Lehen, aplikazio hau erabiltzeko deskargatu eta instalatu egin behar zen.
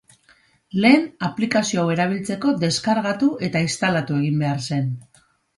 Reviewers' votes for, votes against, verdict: 2, 0, accepted